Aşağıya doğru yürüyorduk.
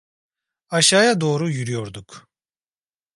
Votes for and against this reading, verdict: 2, 0, accepted